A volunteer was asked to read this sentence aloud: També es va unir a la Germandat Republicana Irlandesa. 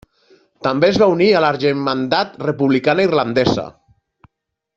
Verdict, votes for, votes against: accepted, 2, 0